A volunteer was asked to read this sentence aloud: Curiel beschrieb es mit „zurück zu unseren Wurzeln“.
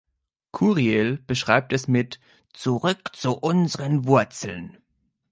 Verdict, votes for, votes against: rejected, 1, 2